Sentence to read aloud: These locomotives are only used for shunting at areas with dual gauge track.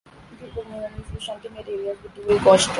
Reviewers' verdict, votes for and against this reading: rejected, 0, 3